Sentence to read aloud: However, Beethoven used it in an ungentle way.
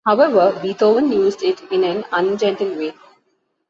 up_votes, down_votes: 2, 0